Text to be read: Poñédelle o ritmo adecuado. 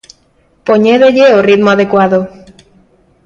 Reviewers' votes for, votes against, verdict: 2, 0, accepted